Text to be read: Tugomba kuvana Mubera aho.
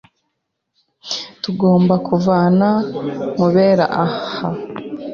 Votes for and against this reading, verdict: 2, 0, accepted